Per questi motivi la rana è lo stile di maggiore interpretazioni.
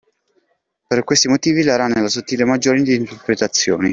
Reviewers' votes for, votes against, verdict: 0, 2, rejected